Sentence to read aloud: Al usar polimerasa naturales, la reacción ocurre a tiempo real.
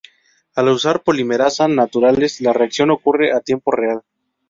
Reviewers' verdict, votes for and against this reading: rejected, 0, 2